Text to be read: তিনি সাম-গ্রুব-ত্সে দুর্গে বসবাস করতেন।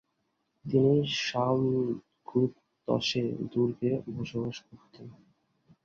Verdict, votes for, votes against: rejected, 0, 6